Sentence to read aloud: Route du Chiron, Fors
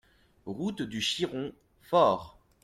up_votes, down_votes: 2, 0